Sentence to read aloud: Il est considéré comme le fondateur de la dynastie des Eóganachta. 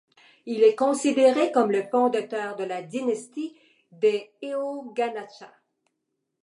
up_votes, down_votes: 2, 0